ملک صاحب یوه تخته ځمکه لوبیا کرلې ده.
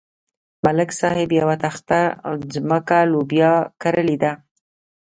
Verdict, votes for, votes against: accepted, 2, 0